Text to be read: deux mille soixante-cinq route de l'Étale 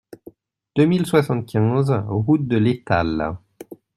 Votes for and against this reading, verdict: 1, 2, rejected